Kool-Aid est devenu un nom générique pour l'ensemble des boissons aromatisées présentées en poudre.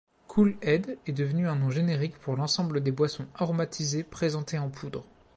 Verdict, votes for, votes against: accepted, 2, 0